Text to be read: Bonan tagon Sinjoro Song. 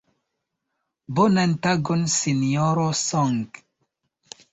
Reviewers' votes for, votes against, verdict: 2, 0, accepted